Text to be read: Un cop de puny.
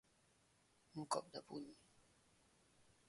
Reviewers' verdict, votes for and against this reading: rejected, 2, 3